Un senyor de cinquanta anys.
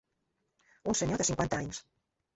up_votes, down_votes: 2, 0